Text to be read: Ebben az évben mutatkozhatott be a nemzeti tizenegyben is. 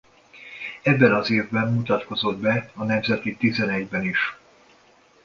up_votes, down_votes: 1, 2